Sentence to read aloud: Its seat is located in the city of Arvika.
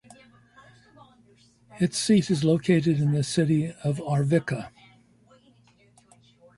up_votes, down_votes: 2, 0